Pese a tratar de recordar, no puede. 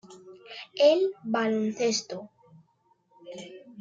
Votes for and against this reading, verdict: 0, 2, rejected